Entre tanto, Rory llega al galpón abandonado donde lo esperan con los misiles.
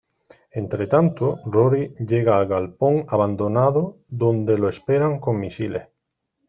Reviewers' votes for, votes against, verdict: 1, 2, rejected